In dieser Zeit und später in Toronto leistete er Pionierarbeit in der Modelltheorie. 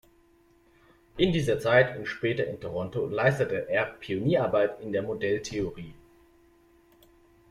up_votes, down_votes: 2, 0